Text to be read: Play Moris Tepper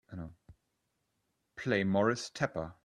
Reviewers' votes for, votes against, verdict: 2, 0, accepted